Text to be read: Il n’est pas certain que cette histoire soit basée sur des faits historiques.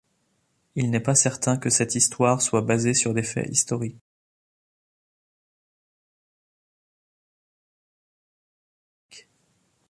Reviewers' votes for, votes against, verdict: 2, 0, accepted